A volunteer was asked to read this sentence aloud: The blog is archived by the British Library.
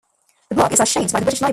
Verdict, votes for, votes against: rejected, 0, 2